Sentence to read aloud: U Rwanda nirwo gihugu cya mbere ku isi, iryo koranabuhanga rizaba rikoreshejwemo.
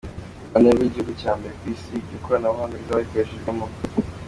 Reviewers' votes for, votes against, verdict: 2, 1, accepted